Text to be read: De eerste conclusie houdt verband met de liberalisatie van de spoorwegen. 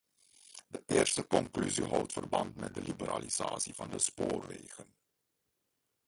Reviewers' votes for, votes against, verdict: 0, 2, rejected